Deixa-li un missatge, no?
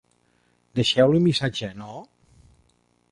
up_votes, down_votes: 1, 2